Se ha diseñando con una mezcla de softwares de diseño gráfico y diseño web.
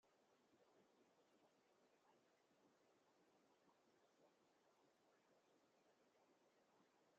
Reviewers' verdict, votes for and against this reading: rejected, 0, 2